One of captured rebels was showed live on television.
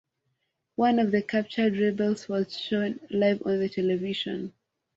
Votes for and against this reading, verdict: 1, 2, rejected